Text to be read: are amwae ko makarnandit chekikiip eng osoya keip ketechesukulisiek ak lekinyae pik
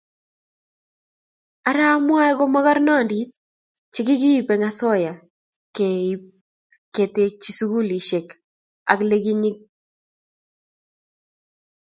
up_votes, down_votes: 0, 2